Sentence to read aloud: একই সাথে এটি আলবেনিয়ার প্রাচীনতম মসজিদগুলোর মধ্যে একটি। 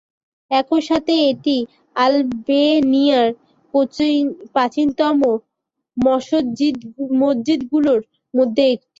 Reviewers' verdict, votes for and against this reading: rejected, 0, 3